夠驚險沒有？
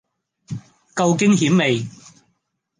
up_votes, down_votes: 0, 2